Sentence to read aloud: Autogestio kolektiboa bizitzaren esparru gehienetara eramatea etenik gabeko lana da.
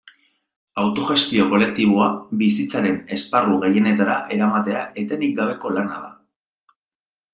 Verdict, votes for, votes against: rejected, 1, 2